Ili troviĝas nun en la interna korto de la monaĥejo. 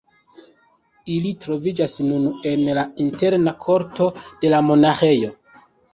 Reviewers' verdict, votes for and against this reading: accepted, 2, 0